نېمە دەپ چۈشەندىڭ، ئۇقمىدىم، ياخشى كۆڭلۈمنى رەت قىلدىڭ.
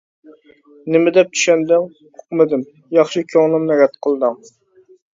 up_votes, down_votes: 3, 0